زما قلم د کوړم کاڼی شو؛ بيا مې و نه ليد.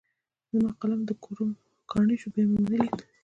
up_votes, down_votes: 0, 2